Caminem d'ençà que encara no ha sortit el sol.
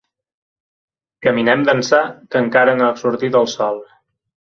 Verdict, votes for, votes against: accepted, 2, 0